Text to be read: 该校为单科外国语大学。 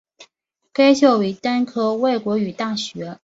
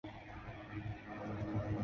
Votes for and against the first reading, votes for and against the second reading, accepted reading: 2, 0, 0, 2, first